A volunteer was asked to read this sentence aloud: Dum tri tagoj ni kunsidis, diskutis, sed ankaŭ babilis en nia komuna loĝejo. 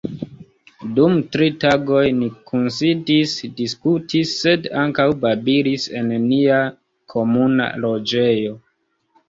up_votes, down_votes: 2, 0